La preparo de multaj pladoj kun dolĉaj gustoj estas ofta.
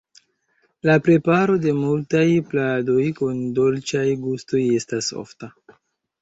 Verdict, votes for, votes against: accepted, 2, 1